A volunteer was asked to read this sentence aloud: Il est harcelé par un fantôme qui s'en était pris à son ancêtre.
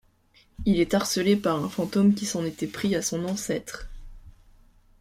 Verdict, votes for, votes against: accepted, 2, 0